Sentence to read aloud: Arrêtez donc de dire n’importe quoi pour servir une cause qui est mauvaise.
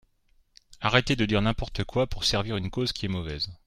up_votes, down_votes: 1, 3